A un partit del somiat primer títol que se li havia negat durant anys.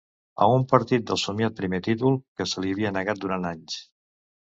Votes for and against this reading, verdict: 2, 0, accepted